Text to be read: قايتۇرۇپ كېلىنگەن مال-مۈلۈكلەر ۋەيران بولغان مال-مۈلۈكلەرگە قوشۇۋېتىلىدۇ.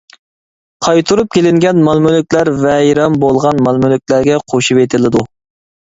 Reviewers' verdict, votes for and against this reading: rejected, 0, 2